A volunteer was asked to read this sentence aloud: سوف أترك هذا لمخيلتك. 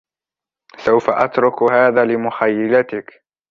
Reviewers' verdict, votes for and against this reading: rejected, 0, 2